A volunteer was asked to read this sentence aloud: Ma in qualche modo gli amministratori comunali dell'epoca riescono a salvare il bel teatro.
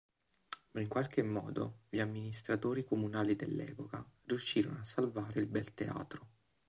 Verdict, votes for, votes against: rejected, 1, 3